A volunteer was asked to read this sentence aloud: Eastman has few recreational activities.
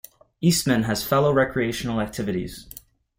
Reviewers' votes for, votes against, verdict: 0, 2, rejected